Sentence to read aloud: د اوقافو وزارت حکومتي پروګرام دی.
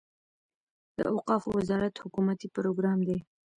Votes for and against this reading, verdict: 1, 2, rejected